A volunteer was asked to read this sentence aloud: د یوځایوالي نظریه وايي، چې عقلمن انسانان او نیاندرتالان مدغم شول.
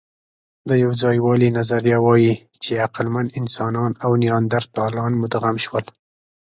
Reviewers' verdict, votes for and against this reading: accepted, 2, 0